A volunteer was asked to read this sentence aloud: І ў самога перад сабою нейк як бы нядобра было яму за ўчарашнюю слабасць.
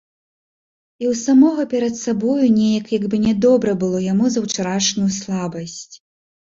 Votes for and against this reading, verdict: 2, 0, accepted